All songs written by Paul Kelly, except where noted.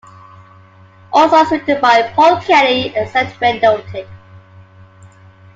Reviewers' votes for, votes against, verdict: 0, 2, rejected